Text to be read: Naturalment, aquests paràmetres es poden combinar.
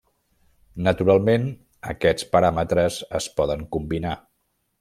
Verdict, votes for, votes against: accepted, 3, 1